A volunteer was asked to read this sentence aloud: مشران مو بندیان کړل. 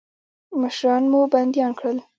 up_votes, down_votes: 1, 2